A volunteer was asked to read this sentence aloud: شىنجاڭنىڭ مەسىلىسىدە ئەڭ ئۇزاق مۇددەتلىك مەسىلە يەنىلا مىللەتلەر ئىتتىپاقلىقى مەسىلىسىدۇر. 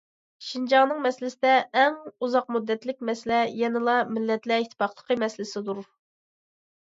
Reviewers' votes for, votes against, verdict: 2, 1, accepted